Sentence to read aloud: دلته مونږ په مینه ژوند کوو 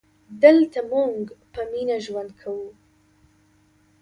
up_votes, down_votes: 2, 0